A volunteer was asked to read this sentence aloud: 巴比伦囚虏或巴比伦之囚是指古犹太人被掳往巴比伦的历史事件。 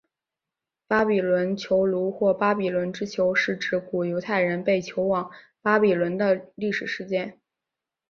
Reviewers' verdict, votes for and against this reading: rejected, 1, 2